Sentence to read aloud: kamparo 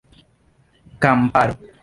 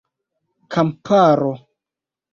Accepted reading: second